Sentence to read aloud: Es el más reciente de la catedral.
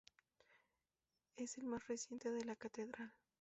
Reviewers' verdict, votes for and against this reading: rejected, 0, 2